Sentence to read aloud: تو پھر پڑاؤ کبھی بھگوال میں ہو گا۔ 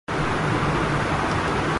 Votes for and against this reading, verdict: 0, 4, rejected